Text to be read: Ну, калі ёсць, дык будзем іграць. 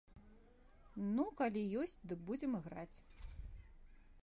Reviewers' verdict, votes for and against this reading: accepted, 2, 0